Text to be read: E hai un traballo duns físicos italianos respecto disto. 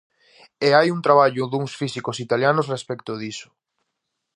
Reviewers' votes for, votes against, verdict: 0, 2, rejected